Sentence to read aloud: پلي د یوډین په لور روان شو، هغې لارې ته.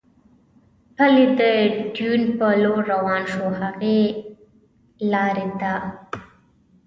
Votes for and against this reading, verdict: 1, 2, rejected